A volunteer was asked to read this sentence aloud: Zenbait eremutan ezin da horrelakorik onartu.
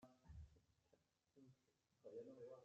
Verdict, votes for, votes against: rejected, 0, 2